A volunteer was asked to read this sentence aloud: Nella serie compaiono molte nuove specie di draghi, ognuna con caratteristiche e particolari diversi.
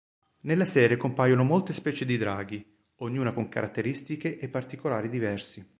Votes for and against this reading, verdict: 0, 2, rejected